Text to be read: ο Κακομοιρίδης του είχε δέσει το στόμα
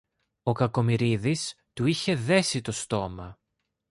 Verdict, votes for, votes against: accepted, 2, 0